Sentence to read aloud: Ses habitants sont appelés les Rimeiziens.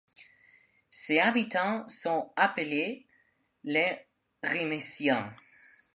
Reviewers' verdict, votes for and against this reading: rejected, 1, 2